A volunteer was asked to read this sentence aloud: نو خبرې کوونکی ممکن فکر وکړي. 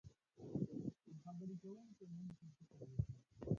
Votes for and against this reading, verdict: 0, 2, rejected